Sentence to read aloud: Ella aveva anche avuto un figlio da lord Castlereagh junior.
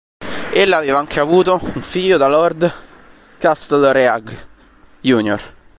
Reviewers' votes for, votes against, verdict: 1, 2, rejected